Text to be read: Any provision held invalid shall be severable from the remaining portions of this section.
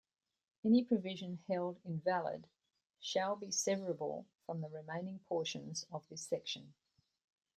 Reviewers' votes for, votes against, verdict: 2, 0, accepted